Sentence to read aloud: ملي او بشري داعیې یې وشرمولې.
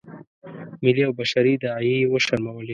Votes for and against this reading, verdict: 2, 0, accepted